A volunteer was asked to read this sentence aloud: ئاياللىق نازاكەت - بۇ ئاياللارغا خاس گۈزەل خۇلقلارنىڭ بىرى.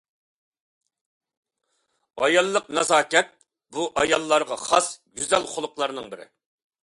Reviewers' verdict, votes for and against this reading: accepted, 2, 0